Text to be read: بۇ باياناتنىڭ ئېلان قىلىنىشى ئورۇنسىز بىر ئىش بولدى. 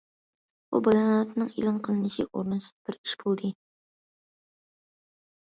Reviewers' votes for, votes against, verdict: 0, 2, rejected